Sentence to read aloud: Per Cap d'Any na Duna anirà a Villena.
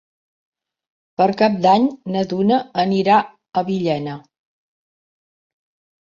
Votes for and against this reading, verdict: 3, 0, accepted